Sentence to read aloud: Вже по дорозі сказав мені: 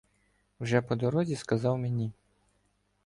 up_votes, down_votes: 2, 0